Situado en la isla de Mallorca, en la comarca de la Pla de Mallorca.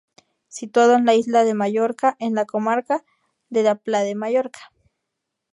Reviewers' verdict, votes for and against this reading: accepted, 4, 0